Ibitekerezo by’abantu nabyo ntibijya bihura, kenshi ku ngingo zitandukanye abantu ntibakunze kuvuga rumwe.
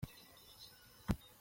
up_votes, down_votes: 0, 2